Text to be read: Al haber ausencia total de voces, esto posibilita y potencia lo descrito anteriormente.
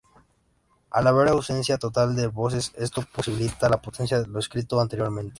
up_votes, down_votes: 0, 2